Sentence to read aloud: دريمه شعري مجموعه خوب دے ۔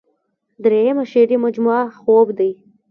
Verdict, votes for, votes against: accepted, 2, 1